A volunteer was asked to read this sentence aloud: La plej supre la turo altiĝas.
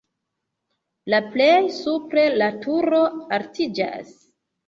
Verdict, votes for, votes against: accepted, 2, 0